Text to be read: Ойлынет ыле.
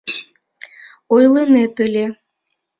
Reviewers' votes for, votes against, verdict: 2, 1, accepted